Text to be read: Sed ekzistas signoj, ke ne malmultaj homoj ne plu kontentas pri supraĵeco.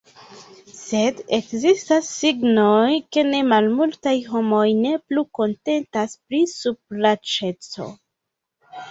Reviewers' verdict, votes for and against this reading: rejected, 0, 2